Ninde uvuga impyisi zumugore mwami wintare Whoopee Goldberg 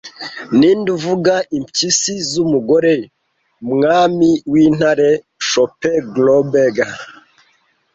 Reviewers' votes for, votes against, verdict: 1, 2, rejected